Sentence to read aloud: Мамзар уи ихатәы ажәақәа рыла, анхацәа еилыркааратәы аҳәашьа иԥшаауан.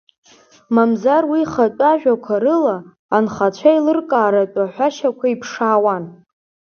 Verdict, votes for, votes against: accepted, 2, 1